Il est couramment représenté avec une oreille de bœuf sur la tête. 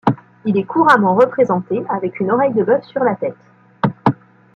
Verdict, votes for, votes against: rejected, 0, 2